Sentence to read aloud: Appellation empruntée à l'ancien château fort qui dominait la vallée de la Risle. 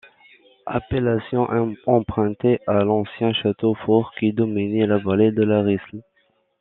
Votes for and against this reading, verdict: 1, 2, rejected